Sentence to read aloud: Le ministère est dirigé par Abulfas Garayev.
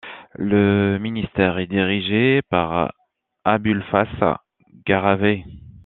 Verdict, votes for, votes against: rejected, 1, 2